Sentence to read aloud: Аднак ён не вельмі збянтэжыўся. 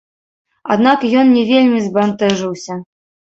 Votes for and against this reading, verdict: 0, 2, rejected